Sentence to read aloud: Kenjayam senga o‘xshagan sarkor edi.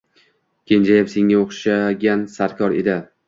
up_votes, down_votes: 2, 0